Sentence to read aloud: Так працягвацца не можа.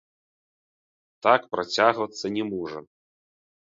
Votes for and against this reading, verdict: 0, 3, rejected